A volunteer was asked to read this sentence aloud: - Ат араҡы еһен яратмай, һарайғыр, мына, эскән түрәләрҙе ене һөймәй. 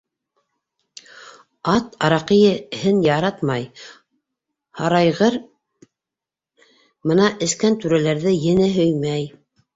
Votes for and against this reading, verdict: 1, 2, rejected